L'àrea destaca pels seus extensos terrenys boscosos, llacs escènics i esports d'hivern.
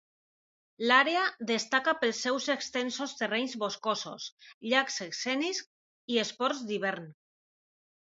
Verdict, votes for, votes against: accepted, 2, 0